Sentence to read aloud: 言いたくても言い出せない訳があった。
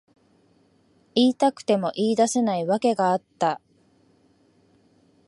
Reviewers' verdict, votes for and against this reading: accepted, 2, 0